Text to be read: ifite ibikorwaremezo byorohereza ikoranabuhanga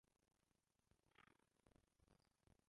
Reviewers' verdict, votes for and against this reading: rejected, 0, 2